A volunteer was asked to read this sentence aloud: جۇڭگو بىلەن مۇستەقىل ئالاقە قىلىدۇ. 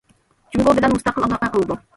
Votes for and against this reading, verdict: 1, 2, rejected